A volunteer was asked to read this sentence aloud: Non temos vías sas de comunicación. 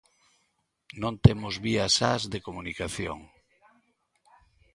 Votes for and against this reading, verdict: 2, 0, accepted